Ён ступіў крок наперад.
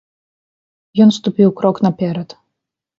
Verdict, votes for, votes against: accepted, 2, 0